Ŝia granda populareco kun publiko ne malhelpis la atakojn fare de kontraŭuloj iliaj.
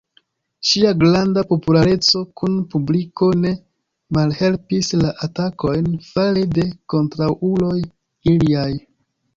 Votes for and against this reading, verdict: 1, 2, rejected